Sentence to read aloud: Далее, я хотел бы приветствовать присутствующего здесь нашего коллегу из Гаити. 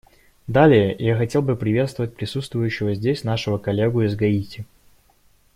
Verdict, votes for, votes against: accepted, 2, 0